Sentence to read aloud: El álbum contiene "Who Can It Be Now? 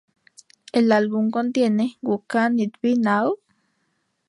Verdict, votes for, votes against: rejected, 0, 2